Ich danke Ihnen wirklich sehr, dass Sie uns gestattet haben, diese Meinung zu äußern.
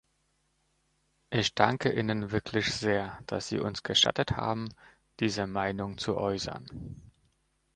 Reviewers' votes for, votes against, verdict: 2, 0, accepted